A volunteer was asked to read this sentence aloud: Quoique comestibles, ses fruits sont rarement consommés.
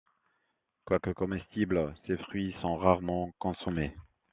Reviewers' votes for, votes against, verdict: 2, 0, accepted